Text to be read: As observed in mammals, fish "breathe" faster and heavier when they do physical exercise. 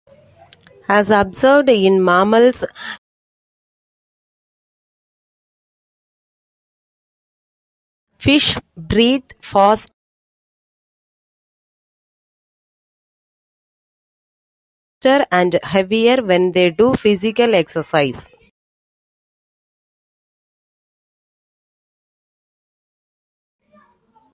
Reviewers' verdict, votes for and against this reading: rejected, 1, 2